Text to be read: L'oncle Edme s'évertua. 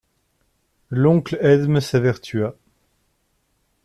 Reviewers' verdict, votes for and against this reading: accepted, 2, 0